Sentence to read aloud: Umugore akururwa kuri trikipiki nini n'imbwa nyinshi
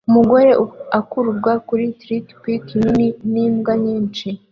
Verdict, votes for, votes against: accepted, 2, 0